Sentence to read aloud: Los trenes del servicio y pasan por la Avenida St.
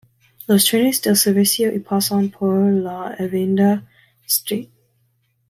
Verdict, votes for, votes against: rejected, 1, 2